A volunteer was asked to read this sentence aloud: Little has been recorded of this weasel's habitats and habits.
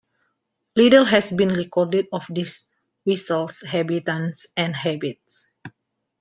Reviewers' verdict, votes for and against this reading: rejected, 1, 2